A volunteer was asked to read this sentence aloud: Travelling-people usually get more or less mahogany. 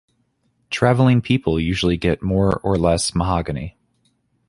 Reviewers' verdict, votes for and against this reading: accepted, 2, 0